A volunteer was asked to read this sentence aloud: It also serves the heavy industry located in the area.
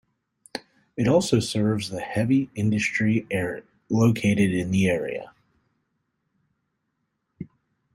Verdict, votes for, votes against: accepted, 2, 1